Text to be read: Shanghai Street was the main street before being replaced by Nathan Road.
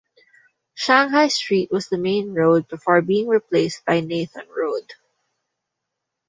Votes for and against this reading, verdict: 0, 2, rejected